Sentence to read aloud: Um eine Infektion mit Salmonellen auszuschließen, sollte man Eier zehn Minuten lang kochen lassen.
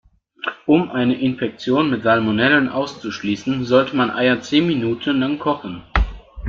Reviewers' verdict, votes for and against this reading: rejected, 0, 2